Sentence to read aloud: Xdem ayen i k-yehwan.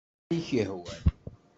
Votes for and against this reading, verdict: 0, 2, rejected